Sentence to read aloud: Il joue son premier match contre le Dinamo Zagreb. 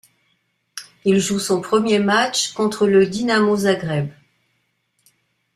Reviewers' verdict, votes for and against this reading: accepted, 2, 0